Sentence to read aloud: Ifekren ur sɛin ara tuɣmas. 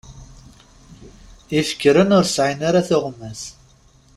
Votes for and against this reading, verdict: 2, 0, accepted